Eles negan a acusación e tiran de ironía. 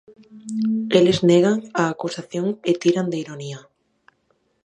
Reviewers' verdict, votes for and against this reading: accepted, 6, 0